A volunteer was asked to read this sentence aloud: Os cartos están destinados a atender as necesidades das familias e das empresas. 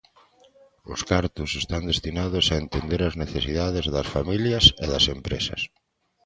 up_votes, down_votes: 1, 2